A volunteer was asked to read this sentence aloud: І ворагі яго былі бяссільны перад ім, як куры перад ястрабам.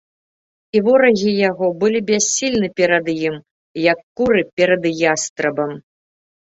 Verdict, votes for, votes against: accepted, 2, 0